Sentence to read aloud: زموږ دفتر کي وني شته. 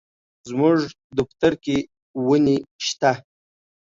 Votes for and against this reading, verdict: 2, 1, accepted